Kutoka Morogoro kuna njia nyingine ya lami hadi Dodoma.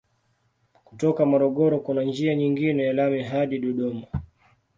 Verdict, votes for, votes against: rejected, 1, 2